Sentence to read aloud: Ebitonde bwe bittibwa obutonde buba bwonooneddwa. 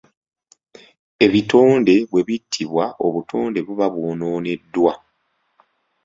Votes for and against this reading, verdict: 2, 0, accepted